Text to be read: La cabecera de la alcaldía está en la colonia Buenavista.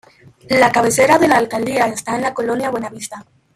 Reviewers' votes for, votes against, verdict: 1, 2, rejected